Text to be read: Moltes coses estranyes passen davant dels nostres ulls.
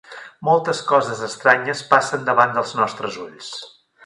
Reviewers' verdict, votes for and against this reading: accepted, 3, 0